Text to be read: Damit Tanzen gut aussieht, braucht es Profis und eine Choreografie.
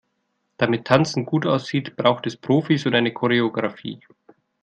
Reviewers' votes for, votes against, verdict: 2, 0, accepted